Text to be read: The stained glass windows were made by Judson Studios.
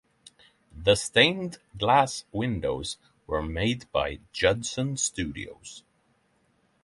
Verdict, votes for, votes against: accepted, 3, 0